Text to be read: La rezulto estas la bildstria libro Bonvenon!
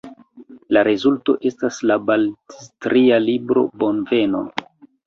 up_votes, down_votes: 1, 2